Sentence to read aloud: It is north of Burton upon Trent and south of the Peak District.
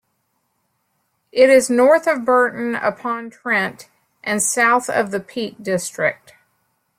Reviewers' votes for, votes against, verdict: 2, 0, accepted